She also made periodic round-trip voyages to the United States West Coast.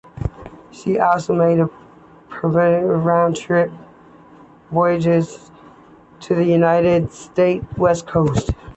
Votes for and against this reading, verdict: 2, 1, accepted